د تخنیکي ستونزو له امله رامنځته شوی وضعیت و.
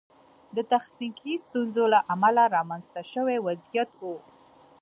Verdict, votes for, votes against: accepted, 2, 0